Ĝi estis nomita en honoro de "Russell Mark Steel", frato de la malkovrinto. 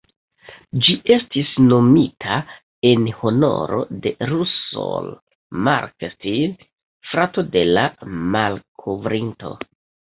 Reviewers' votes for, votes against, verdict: 0, 2, rejected